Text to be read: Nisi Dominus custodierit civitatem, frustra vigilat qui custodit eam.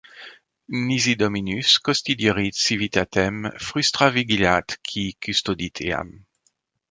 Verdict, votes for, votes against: rejected, 1, 2